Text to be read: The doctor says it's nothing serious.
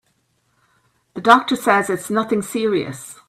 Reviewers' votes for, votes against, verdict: 2, 0, accepted